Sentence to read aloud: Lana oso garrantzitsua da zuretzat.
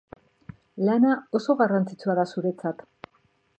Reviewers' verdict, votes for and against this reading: accepted, 4, 0